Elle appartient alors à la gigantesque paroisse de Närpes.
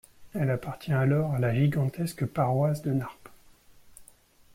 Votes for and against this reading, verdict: 1, 2, rejected